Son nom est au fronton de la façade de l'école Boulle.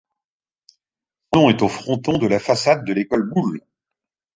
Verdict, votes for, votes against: rejected, 0, 2